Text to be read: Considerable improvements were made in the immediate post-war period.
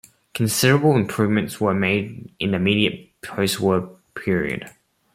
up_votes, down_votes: 1, 2